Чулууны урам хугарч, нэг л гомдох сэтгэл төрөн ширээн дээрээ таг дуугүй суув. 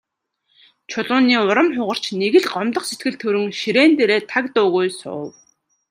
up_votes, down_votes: 2, 0